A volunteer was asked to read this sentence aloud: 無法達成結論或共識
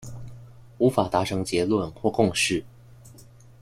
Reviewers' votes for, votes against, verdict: 2, 0, accepted